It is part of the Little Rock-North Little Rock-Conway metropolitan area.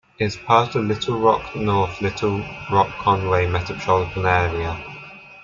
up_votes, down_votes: 0, 2